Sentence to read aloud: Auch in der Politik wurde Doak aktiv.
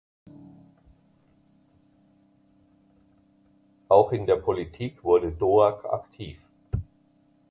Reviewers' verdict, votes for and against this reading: accepted, 2, 0